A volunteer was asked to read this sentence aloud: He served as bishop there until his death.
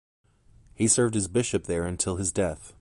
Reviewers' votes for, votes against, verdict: 2, 0, accepted